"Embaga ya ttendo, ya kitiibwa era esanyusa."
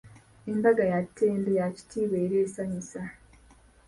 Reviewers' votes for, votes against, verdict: 2, 0, accepted